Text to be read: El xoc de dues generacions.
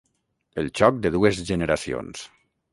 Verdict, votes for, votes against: accepted, 6, 0